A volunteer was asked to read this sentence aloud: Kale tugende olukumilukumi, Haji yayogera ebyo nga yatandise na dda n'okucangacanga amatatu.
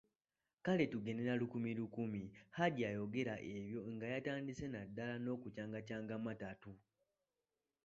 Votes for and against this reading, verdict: 2, 0, accepted